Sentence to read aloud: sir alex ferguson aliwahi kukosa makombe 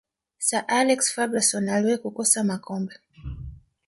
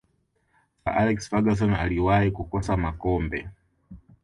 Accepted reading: second